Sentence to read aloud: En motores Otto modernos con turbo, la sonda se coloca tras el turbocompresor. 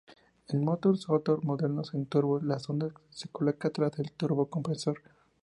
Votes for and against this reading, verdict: 0, 2, rejected